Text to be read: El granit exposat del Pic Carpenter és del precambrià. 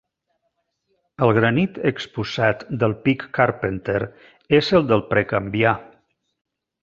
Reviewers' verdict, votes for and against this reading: rejected, 0, 2